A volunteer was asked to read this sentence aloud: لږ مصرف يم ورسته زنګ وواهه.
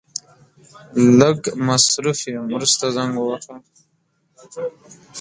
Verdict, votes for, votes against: rejected, 1, 2